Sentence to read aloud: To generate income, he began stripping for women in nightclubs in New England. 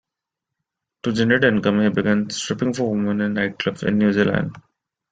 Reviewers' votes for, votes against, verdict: 0, 2, rejected